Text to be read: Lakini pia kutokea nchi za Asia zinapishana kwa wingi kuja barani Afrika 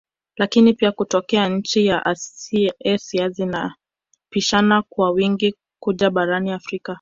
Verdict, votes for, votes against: rejected, 1, 2